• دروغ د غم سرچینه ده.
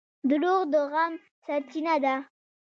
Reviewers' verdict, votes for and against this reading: accepted, 2, 0